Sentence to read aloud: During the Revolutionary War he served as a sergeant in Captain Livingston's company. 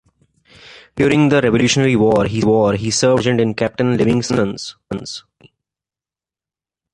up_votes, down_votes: 1, 2